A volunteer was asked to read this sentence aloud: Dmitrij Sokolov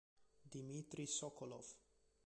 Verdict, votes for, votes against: accepted, 2, 1